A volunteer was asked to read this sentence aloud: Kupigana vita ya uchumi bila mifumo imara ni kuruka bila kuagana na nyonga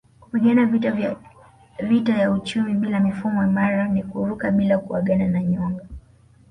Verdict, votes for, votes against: rejected, 1, 2